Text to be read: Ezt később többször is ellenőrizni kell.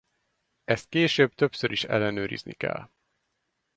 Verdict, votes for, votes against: accepted, 4, 0